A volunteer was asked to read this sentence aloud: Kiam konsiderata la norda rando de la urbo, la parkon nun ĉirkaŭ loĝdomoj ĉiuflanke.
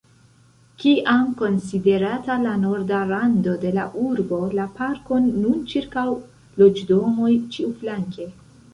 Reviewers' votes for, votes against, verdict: 2, 1, accepted